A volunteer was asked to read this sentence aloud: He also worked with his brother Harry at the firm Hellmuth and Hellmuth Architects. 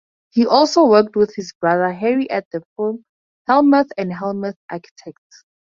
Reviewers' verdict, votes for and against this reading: accepted, 2, 0